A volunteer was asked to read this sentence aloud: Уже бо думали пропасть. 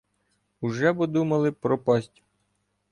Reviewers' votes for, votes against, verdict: 2, 1, accepted